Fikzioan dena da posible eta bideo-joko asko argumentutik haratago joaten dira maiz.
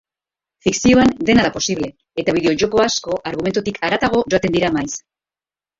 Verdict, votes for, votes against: accepted, 3, 2